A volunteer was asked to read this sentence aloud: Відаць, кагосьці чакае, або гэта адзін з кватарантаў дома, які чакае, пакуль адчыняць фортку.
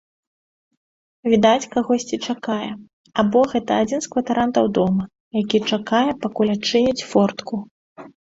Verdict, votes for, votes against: accepted, 2, 0